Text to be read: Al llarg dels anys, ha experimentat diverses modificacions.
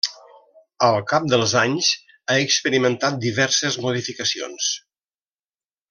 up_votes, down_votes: 1, 2